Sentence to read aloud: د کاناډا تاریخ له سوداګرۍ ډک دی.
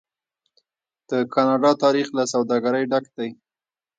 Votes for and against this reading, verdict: 1, 2, rejected